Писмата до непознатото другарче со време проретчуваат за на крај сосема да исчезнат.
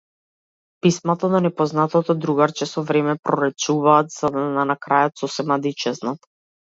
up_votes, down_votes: 0, 2